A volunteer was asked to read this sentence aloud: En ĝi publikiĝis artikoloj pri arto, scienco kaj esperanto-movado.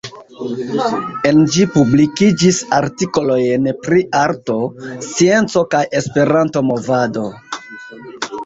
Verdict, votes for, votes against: rejected, 0, 2